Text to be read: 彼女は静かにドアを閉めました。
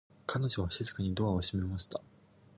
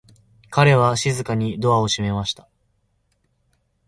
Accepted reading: first